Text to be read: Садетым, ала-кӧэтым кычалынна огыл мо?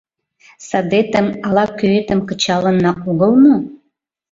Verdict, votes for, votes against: accepted, 2, 0